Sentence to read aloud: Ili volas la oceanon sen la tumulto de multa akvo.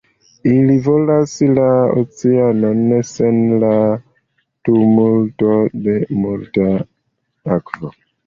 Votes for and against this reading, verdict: 0, 2, rejected